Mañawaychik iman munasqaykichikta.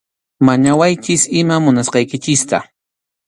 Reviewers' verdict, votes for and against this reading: accepted, 2, 0